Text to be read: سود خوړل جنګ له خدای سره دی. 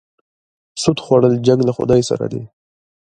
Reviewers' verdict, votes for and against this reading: accepted, 2, 1